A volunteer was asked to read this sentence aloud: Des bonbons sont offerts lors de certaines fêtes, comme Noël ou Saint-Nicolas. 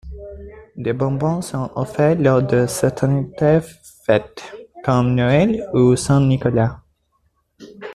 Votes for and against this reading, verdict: 1, 2, rejected